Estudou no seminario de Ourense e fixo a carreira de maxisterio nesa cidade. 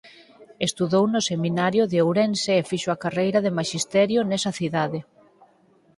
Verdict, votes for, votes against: accepted, 4, 0